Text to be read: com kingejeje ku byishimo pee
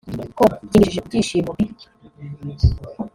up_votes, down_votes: 0, 2